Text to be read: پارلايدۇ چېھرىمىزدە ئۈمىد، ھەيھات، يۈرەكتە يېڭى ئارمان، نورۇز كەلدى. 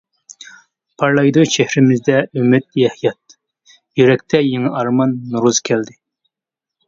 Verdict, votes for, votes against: rejected, 0, 2